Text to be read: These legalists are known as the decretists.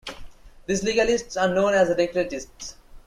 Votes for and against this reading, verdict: 2, 1, accepted